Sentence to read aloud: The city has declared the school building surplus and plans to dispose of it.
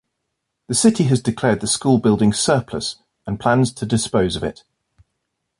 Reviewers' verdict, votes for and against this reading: rejected, 0, 2